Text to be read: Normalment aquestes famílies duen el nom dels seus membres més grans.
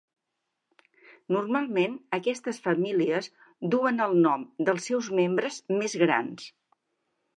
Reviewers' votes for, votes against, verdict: 4, 0, accepted